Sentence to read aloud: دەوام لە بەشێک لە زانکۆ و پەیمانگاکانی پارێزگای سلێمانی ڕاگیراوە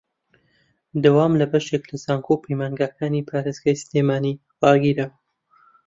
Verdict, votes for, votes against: rejected, 1, 2